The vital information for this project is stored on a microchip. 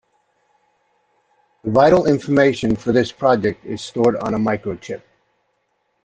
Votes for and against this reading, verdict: 0, 2, rejected